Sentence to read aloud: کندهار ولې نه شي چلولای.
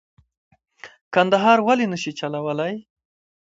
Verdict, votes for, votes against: accepted, 2, 0